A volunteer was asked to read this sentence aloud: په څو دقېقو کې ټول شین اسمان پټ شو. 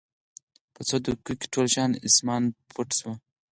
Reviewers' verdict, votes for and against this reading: accepted, 4, 0